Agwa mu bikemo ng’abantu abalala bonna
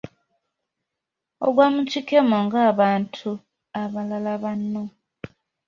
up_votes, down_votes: 1, 2